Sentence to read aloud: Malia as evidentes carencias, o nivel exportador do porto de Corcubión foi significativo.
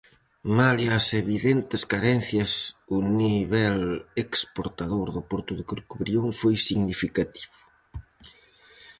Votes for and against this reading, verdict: 0, 4, rejected